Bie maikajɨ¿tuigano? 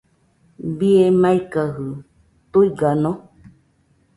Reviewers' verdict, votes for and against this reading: accepted, 2, 0